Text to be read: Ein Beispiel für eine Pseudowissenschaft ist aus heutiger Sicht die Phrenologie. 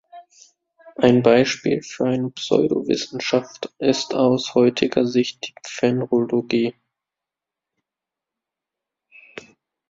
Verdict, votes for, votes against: rejected, 0, 2